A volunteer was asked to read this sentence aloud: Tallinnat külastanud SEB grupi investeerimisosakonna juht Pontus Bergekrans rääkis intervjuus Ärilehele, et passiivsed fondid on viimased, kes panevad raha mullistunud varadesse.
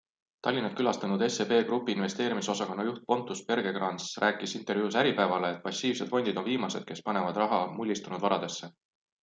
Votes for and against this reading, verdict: 1, 2, rejected